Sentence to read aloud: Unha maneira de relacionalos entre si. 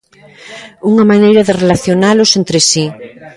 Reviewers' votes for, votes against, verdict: 0, 2, rejected